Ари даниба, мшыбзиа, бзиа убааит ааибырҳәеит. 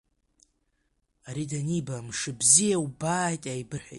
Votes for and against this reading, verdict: 2, 1, accepted